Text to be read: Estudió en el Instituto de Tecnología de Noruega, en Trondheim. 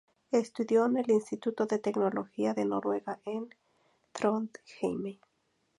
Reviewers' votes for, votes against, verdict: 0, 2, rejected